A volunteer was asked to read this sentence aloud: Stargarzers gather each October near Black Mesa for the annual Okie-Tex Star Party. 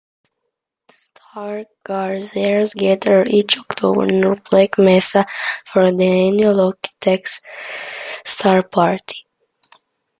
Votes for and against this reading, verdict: 2, 0, accepted